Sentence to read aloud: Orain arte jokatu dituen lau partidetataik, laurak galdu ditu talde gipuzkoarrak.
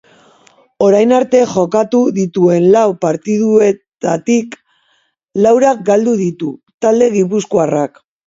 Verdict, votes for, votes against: rejected, 2, 3